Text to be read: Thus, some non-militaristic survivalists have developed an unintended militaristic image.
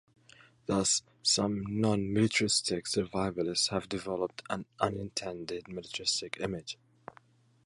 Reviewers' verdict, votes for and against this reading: accepted, 2, 0